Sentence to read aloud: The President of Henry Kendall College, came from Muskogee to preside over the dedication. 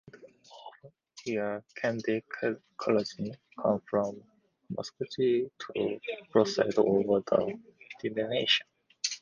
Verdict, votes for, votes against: rejected, 0, 2